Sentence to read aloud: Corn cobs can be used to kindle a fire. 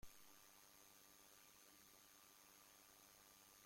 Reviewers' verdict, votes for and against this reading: rejected, 0, 2